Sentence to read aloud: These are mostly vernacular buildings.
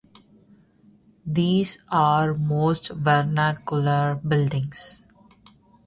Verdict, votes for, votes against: rejected, 0, 3